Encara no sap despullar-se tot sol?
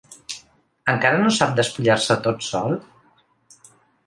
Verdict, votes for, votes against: accepted, 2, 0